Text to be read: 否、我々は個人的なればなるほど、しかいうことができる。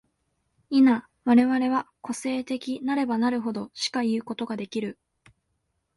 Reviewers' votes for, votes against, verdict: 1, 2, rejected